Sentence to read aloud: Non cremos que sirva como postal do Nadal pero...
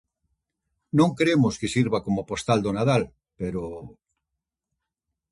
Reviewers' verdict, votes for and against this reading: rejected, 0, 2